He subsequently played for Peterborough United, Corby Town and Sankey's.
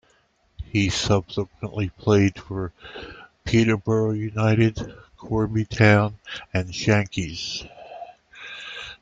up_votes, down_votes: 2, 1